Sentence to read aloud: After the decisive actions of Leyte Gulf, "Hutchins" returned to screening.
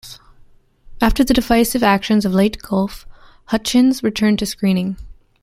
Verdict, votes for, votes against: rejected, 1, 2